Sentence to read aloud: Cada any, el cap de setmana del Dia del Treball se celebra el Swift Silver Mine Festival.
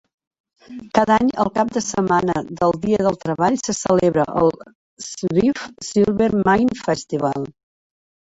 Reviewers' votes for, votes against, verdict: 1, 2, rejected